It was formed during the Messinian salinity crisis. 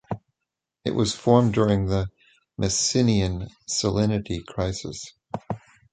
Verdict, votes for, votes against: accepted, 2, 0